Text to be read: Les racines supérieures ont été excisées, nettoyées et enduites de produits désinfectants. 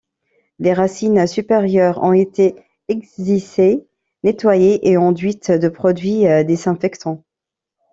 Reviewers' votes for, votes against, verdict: 0, 2, rejected